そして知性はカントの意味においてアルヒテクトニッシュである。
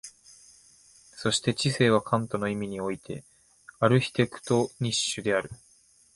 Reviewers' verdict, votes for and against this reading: accepted, 2, 0